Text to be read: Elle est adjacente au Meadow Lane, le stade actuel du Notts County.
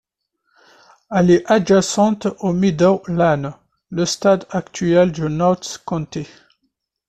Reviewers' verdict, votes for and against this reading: rejected, 1, 2